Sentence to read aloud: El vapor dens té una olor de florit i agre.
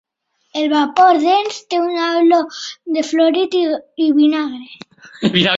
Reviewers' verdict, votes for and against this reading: rejected, 0, 2